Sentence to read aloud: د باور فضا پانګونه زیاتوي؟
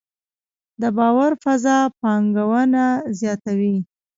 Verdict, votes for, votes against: rejected, 0, 2